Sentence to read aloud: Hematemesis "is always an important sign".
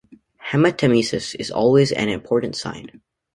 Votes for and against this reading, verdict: 2, 0, accepted